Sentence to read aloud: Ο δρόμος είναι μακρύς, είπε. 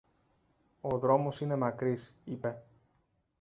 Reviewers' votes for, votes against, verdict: 2, 0, accepted